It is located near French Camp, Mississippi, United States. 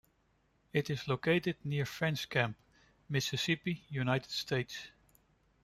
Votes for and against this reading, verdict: 0, 2, rejected